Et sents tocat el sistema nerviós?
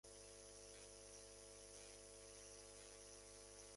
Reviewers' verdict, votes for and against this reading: rejected, 0, 2